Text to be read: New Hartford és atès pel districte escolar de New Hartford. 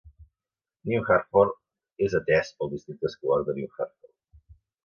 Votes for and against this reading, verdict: 2, 0, accepted